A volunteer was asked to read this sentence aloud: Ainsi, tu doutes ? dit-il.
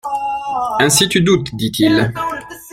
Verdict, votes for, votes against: accepted, 2, 1